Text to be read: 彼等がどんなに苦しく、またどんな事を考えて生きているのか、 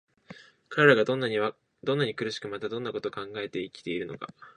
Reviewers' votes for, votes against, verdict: 2, 1, accepted